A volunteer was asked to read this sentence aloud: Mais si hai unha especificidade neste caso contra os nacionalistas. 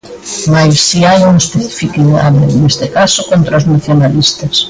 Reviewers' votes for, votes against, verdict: 1, 2, rejected